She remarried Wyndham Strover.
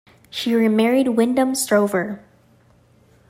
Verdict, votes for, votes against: accepted, 2, 0